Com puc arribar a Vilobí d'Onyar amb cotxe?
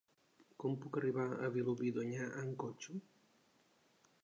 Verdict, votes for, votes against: accepted, 2, 0